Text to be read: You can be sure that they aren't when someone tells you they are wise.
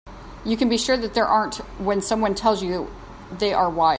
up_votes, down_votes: 1, 2